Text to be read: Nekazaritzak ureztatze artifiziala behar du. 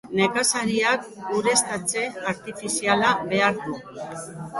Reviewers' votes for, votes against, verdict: 0, 2, rejected